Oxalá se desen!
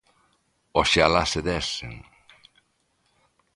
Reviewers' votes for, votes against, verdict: 2, 0, accepted